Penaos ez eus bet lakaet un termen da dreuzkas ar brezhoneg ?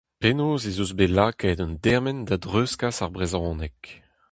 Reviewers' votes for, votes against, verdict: 0, 2, rejected